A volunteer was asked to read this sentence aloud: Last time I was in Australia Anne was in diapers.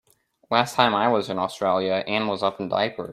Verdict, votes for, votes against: rejected, 0, 2